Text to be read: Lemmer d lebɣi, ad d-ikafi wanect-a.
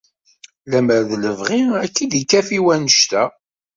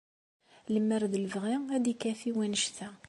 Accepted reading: second